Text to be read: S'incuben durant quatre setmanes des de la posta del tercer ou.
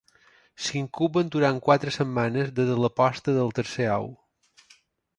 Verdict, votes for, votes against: accepted, 2, 0